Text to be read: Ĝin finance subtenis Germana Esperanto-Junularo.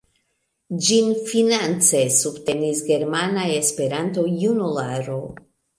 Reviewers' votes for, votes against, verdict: 2, 0, accepted